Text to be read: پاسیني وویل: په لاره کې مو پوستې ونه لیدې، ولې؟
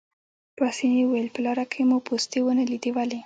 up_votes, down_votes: 2, 0